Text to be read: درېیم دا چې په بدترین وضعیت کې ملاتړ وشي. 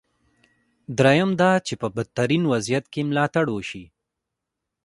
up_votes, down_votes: 0, 2